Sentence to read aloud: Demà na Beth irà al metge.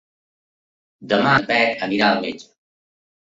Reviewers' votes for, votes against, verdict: 1, 2, rejected